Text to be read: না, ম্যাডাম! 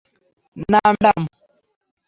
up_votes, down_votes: 0, 3